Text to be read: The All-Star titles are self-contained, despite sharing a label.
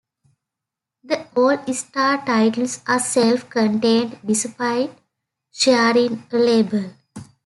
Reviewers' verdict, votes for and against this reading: rejected, 0, 2